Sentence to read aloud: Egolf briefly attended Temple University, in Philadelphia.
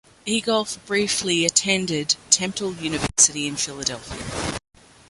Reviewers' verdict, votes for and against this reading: rejected, 1, 2